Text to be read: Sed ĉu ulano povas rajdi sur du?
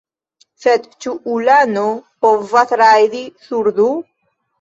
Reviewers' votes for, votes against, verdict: 2, 1, accepted